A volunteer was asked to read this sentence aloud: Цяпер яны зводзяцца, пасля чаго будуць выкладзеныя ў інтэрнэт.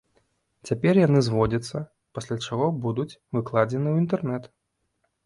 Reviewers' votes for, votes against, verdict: 0, 2, rejected